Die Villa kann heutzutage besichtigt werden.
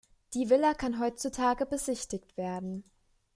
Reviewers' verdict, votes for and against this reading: accepted, 2, 0